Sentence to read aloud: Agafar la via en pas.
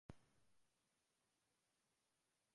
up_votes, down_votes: 1, 2